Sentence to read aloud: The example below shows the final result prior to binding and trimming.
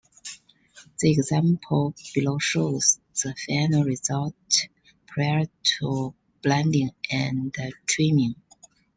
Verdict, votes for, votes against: rejected, 0, 2